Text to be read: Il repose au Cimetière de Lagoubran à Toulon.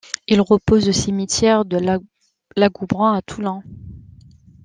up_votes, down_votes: 0, 2